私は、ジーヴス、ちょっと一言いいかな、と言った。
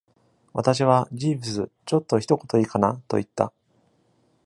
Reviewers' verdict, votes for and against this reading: accepted, 2, 0